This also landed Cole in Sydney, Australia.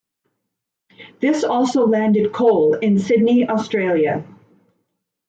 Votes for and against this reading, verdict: 2, 0, accepted